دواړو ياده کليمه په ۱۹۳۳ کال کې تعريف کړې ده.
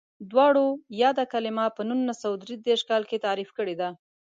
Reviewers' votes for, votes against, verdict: 0, 2, rejected